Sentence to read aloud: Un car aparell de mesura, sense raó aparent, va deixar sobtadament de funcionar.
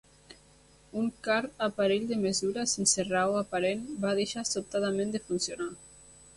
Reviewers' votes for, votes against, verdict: 1, 2, rejected